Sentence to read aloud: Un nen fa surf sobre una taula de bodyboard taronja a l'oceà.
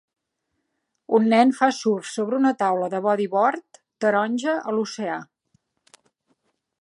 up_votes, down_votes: 2, 0